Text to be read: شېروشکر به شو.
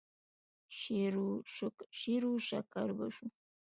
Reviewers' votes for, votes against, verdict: 1, 2, rejected